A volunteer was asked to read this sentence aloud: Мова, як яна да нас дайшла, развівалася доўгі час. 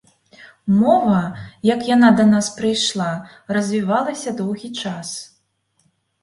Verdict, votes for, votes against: rejected, 0, 2